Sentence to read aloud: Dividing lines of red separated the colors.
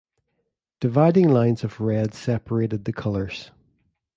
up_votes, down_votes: 2, 0